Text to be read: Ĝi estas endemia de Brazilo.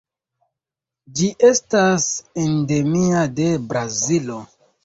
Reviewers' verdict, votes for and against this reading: accepted, 2, 1